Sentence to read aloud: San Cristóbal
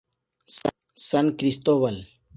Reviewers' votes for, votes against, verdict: 4, 2, accepted